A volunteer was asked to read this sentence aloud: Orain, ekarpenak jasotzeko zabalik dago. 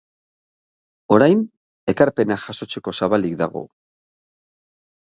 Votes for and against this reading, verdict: 2, 0, accepted